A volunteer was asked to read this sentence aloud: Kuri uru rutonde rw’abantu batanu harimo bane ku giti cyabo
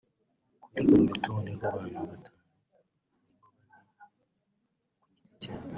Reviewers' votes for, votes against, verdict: 0, 3, rejected